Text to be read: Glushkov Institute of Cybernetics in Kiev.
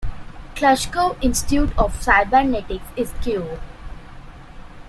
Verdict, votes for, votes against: rejected, 0, 2